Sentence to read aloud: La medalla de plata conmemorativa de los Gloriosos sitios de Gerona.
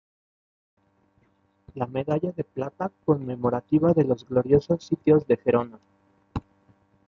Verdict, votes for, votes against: rejected, 1, 2